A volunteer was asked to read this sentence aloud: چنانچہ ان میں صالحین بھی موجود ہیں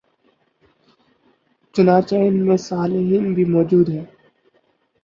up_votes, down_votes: 6, 0